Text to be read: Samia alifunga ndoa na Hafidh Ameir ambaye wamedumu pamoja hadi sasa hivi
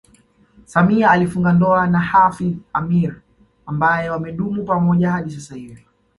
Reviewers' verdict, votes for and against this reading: accepted, 2, 0